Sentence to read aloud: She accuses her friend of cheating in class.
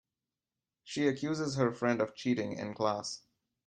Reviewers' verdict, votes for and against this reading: accepted, 2, 0